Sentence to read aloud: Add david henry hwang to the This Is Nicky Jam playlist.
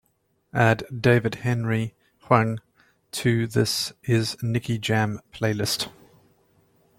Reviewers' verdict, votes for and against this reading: accepted, 2, 0